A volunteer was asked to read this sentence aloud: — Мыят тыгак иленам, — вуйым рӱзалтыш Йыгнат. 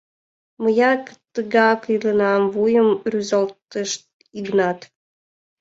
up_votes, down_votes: 1, 2